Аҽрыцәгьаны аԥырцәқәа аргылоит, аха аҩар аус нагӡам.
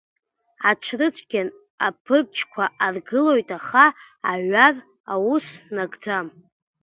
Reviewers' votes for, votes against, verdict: 2, 1, accepted